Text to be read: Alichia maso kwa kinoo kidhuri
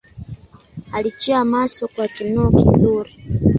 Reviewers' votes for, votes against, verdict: 1, 2, rejected